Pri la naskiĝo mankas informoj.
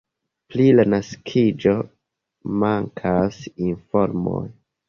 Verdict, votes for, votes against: accepted, 2, 0